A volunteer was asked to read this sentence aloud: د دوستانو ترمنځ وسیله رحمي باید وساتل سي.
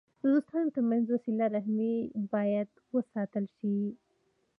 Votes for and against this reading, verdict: 1, 2, rejected